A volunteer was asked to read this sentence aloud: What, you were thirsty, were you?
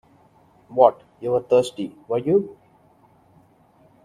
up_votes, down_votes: 0, 2